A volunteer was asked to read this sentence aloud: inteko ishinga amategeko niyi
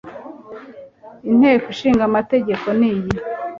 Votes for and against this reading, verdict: 2, 0, accepted